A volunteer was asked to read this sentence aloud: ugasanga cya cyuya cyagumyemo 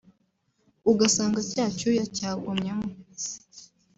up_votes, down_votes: 2, 0